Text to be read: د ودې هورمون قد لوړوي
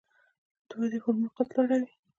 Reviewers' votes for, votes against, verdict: 2, 0, accepted